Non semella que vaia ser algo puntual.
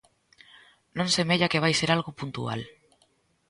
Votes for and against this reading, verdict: 0, 2, rejected